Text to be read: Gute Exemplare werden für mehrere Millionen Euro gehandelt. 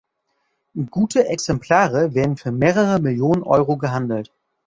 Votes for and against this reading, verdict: 2, 0, accepted